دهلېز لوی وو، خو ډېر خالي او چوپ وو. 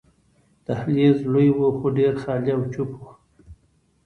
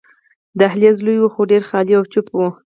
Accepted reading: first